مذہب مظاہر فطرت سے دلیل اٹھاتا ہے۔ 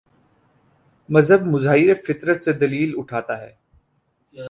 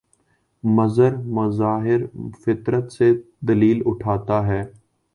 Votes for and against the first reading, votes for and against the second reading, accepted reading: 16, 0, 4, 5, first